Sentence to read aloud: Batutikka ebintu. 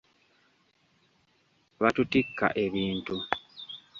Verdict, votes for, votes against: accepted, 2, 0